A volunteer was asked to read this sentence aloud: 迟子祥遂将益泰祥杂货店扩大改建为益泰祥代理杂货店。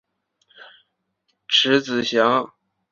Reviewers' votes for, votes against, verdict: 2, 2, rejected